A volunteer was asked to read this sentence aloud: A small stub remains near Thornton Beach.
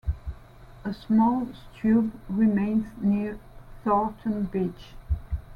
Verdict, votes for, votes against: rejected, 1, 2